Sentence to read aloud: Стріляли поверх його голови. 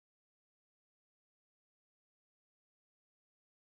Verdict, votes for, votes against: rejected, 0, 2